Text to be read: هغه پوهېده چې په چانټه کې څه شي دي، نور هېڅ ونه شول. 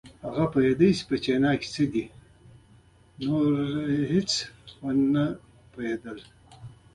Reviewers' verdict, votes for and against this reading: accepted, 2, 1